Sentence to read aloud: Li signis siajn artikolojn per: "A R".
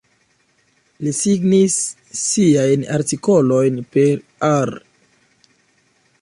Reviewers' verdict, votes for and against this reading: accepted, 2, 1